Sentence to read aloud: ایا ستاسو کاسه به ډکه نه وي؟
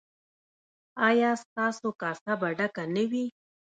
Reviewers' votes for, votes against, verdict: 2, 0, accepted